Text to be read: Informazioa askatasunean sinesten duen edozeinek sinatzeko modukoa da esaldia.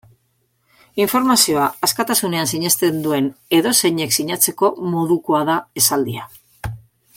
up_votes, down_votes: 2, 0